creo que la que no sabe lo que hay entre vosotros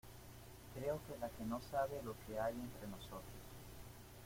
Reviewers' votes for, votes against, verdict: 1, 2, rejected